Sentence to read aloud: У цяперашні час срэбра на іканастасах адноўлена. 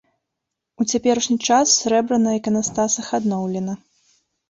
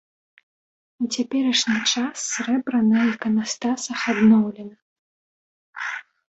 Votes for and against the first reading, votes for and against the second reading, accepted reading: 2, 0, 1, 2, first